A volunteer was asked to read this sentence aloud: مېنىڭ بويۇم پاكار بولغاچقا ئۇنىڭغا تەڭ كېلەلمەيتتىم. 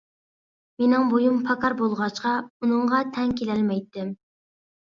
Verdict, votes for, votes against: accepted, 2, 0